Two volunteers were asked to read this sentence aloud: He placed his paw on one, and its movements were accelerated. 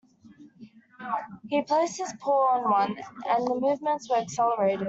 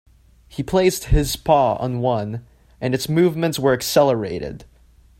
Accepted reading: second